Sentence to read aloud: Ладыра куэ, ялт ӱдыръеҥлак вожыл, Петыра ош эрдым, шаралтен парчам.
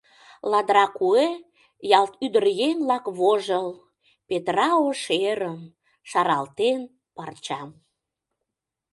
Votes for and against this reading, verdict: 0, 2, rejected